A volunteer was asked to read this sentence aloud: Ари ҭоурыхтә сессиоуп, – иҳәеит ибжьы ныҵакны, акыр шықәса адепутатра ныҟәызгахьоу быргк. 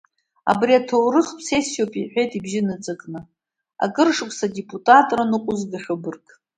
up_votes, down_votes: 1, 2